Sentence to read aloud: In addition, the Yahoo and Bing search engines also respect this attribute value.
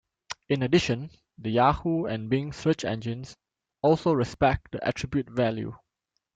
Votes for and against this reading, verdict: 0, 2, rejected